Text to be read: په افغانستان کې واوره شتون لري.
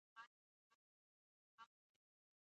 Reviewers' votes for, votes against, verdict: 1, 2, rejected